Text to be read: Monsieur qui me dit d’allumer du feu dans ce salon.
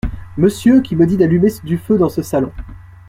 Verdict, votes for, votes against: accepted, 2, 0